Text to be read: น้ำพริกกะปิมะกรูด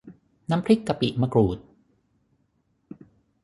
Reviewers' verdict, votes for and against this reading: accepted, 6, 0